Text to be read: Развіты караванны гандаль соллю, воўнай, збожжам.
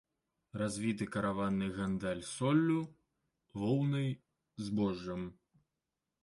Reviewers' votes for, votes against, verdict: 2, 0, accepted